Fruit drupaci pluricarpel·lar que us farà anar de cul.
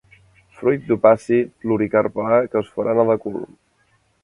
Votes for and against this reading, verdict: 1, 2, rejected